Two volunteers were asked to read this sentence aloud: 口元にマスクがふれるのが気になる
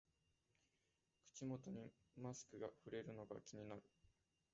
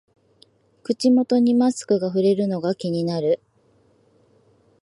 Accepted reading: second